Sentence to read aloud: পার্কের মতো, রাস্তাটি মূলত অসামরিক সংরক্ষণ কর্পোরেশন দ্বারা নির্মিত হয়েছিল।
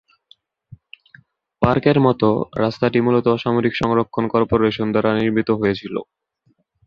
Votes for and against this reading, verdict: 38, 4, accepted